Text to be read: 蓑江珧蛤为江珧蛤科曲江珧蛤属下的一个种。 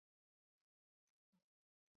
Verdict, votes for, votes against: rejected, 2, 3